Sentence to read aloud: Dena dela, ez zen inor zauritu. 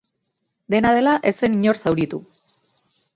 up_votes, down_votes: 4, 0